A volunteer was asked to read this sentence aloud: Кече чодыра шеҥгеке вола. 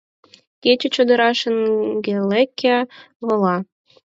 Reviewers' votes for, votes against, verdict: 2, 4, rejected